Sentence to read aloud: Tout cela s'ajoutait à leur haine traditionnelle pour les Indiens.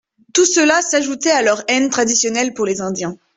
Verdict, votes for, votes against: accepted, 2, 0